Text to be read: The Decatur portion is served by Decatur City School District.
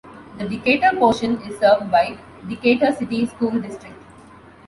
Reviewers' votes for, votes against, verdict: 2, 0, accepted